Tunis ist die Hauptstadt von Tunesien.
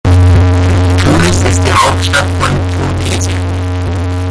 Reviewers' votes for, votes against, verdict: 0, 2, rejected